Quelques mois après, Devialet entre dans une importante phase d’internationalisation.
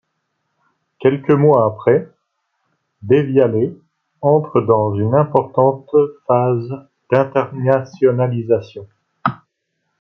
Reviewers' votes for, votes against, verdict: 1, 2, rejected